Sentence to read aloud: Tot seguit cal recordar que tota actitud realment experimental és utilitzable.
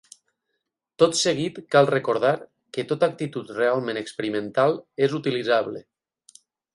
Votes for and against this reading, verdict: 8, 0, accepted